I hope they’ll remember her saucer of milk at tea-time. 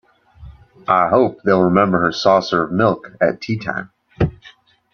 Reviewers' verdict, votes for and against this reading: accepted, 2, 0